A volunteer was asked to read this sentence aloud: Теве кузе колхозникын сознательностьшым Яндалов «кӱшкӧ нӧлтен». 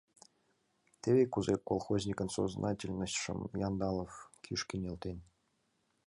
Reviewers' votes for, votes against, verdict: 2, 0, accepted